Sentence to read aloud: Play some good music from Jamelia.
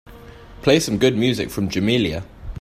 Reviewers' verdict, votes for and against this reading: accepted, 2, 0